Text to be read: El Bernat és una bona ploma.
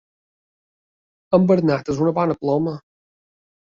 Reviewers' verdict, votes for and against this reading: accepted, 3, 2